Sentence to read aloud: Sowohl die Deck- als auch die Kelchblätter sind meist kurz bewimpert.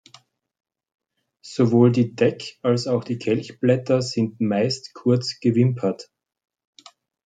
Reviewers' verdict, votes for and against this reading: rejected, 1, 2